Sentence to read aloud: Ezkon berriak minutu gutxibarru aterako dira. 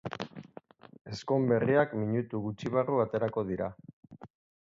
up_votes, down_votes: 2, 0